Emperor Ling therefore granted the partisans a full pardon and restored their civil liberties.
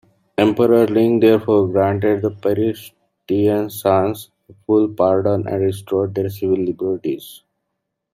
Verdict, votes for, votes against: rejected, 1, 2